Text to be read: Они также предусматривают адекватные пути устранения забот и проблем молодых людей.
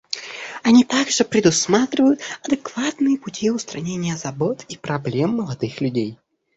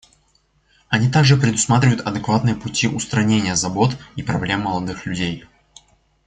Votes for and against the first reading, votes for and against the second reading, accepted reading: 1, 2, 2, 0, second